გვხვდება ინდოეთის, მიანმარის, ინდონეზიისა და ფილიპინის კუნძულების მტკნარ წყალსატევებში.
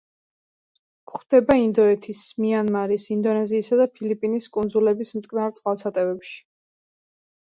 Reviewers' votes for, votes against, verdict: 1, 2, rejected